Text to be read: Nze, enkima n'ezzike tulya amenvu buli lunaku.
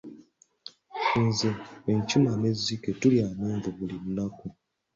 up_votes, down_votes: 3, 0